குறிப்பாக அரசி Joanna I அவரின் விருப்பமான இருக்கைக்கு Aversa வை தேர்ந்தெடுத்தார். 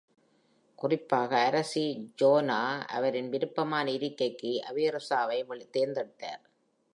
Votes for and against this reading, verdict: 2, 0, accepted